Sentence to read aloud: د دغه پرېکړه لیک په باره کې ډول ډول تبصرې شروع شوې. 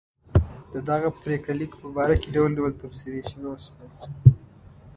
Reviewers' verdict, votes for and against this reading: rejected, 1, 2